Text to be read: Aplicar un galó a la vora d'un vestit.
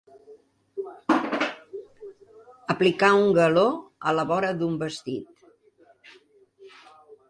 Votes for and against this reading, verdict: 1, 2, rejected